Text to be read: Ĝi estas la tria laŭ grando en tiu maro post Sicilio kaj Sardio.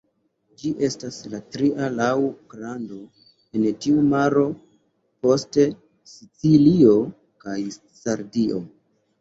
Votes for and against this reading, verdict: 2, 3, rejected